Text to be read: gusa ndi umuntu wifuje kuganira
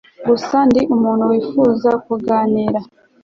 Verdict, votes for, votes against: accepted, 2, 0